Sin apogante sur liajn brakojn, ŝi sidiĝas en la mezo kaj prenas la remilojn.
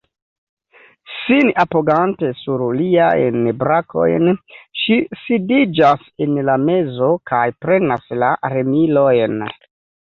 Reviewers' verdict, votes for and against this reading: rejected, 0, 2